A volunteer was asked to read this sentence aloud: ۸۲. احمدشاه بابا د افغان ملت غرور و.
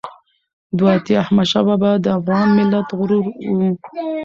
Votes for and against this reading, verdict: 0, 2, rejected